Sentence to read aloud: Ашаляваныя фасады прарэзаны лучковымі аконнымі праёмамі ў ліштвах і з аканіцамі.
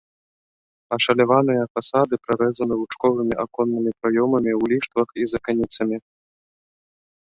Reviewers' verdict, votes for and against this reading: accepted, 2, 1